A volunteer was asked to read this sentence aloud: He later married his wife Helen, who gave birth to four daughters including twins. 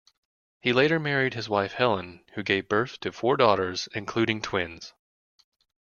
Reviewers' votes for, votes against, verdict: 2, 0, accepted